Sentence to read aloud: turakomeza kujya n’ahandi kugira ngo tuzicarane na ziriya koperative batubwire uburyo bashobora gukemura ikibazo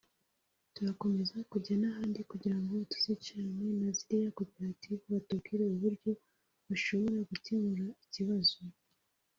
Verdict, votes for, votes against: accepted, 2, 1